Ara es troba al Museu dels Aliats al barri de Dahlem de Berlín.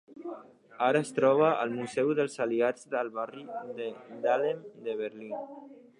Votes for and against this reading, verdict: 2, 3, rejected